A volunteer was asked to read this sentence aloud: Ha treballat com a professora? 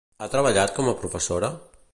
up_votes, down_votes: 2, 0